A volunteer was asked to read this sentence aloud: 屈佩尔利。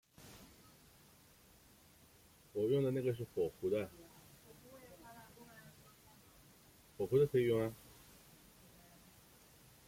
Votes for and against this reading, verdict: 0, 2, rejected